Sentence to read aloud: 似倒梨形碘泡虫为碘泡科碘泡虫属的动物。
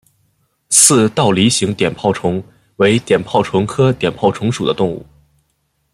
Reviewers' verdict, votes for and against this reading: accepted, 2, 0